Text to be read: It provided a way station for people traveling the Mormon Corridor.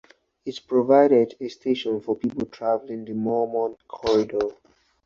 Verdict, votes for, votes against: rejected, 0, 4